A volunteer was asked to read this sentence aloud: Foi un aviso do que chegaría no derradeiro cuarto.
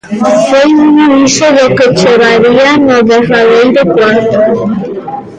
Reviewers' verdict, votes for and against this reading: rejected, 0, 3